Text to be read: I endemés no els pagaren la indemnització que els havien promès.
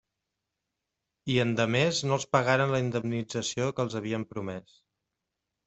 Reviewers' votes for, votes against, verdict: 2, 0, accepted